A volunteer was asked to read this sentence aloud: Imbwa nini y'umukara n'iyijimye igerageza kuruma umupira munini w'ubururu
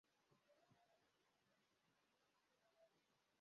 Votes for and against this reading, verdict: 0, 2, rejected